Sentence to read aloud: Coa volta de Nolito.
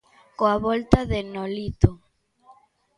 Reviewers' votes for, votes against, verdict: 2, 0, accepted